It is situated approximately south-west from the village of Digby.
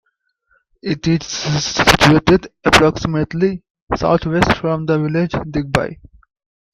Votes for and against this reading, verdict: 0, 3, rejected